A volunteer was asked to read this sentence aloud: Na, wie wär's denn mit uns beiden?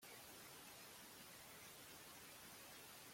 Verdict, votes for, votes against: rejected, 0, 2